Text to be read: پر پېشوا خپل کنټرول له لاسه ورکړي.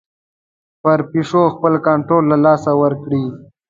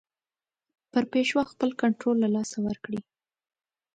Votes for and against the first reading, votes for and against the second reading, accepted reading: 2, 3, 2, 0, second